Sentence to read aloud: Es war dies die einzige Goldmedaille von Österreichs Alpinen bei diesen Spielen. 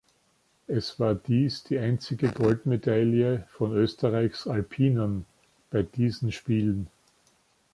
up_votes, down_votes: 2, 0